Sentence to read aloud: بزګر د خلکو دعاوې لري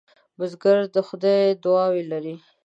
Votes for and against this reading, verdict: 1, 2, rejected